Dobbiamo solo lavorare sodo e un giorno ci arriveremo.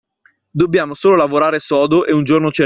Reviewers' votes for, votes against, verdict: 1, 2, rejected